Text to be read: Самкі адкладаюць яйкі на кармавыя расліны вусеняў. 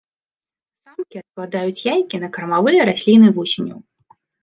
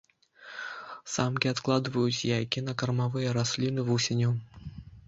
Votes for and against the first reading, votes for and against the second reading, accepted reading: 2, 1, 1, 2, first